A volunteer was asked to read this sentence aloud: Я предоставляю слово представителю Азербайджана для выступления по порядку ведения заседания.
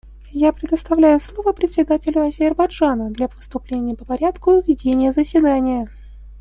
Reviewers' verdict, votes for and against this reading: rejected, 1, 2